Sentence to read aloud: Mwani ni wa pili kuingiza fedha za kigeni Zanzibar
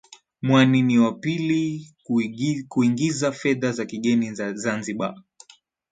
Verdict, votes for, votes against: rejected, 0, 2